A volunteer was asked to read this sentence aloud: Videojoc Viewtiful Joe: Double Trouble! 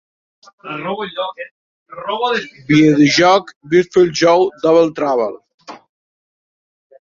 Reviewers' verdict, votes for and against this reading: rejected, 0, 2